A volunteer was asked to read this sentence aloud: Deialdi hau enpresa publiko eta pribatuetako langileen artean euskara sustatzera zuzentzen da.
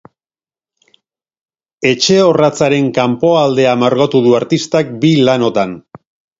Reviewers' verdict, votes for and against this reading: rejected, 0, 2